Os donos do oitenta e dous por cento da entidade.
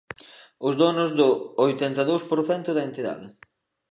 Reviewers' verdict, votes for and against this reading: accepted, 3, 0